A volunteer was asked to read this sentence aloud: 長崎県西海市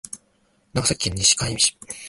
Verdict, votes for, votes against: rejected, 1, 2